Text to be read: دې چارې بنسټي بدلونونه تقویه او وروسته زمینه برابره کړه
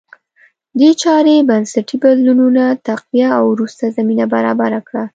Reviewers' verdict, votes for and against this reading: accepted, 2, 0